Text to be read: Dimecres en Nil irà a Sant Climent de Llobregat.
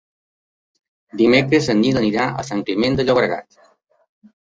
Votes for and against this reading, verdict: 0, 2, rejected